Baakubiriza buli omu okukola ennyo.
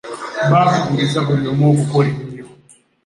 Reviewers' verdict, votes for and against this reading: rejected, 1, 2